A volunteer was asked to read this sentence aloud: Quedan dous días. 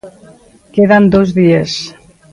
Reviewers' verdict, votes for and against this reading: accepted, 2, 1